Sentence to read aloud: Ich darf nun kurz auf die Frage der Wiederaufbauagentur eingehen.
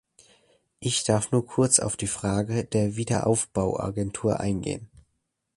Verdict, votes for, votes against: accepted, 2, 0